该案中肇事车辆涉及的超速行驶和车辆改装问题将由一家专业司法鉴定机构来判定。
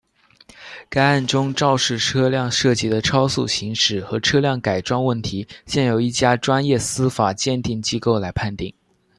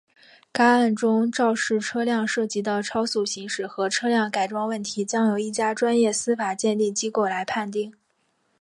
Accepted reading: second